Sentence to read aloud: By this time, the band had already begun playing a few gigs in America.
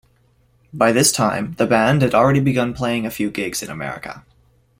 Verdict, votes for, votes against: accepted, 2, 0